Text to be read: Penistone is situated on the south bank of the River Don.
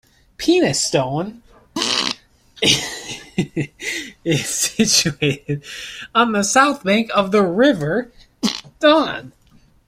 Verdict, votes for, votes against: rejected, 1, 2